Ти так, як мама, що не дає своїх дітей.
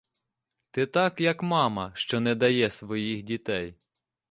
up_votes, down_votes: 2, 0